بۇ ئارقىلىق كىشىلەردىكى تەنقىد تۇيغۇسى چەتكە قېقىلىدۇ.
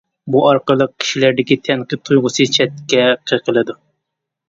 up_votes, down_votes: 2, 0